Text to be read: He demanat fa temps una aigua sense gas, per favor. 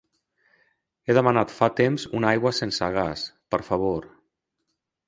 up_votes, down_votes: 0, 2